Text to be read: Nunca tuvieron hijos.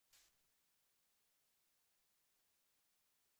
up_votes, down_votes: 0, 2